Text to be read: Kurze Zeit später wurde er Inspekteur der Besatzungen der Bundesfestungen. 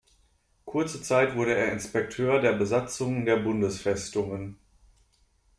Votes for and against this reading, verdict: 0, 2, rejected